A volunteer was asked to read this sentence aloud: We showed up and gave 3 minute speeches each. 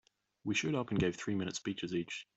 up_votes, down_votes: 0, 2